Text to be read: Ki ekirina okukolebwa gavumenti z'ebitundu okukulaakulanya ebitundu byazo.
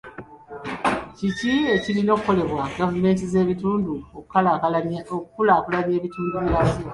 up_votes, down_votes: 2, 0